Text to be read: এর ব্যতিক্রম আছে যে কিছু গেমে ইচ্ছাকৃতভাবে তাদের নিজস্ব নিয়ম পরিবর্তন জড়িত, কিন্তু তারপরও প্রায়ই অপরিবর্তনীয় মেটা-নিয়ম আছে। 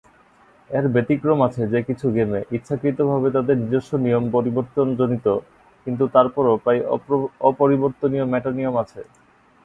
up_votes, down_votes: 1, 4